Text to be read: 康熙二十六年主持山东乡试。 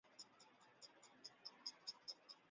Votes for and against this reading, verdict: 0, 2, rejected